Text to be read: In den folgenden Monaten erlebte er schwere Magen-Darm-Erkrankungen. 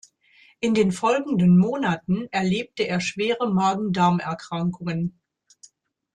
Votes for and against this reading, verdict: 2, 0, accepted